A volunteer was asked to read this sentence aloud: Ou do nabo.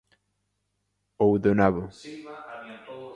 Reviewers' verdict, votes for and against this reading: rejected, 0, 2